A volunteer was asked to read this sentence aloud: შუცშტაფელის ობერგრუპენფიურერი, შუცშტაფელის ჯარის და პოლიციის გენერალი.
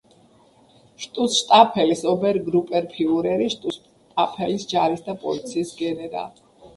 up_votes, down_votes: 2, 0